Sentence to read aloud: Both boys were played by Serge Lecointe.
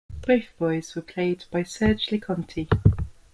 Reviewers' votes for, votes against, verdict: 2, 1, accepted